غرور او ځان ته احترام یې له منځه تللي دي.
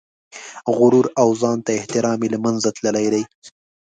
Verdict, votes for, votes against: rejected, 1, 2